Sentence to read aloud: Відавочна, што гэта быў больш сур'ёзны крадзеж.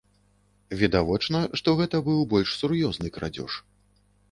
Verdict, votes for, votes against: rejected, 1, 2